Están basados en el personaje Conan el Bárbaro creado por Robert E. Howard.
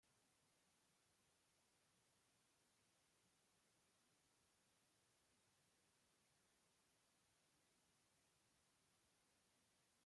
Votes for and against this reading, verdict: 0, 2, rejected